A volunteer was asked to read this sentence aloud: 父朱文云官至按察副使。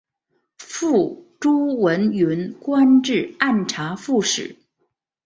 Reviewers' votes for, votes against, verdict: 4, 0, accepted